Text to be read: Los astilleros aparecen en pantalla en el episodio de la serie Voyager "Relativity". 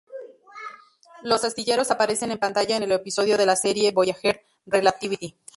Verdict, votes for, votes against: rejected, 0, 2